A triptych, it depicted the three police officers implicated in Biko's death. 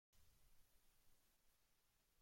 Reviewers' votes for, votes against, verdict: 0, 2, rejected